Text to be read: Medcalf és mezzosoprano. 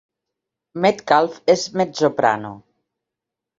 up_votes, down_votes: 3, 4